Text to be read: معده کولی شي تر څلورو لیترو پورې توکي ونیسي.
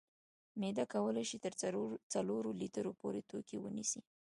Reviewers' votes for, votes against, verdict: 2, 0, accepted